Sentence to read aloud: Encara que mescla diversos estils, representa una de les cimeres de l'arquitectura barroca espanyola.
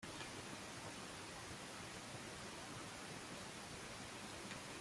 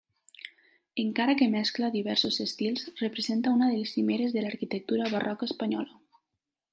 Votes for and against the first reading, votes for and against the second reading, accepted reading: 0, 2, 2, 1, second